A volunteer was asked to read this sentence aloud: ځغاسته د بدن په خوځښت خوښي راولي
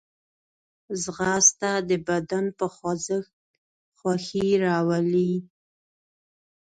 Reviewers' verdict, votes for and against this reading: accepted, 2, 0